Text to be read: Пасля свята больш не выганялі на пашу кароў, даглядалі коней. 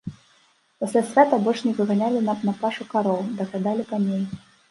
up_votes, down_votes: 0, 2